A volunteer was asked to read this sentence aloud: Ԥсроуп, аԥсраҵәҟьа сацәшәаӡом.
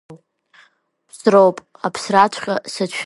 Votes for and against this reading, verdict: 0, 2, rejected